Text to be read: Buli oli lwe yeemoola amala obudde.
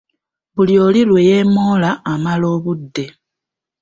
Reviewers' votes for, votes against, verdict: 2, 0, accepted